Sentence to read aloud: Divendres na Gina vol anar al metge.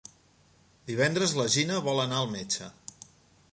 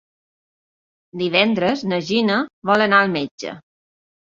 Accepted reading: second